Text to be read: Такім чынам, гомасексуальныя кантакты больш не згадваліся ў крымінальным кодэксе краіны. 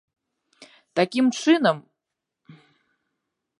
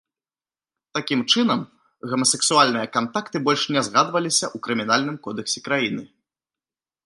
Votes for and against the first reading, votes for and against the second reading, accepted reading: 0, 2, 2, 0, second